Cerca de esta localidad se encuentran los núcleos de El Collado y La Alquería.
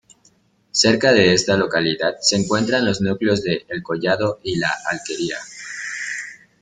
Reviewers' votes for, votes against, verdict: 0, 2, rejected